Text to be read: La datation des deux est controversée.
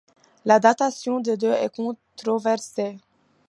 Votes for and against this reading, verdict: 1, 2, rejected